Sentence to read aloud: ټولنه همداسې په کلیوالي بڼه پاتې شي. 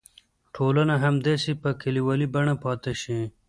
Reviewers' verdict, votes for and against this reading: accepted, 2, 0